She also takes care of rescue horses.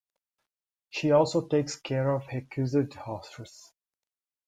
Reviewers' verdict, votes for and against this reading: rejected, 1, 2